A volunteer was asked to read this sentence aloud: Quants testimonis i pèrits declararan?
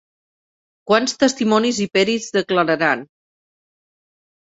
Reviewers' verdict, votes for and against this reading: rejected, 1, 2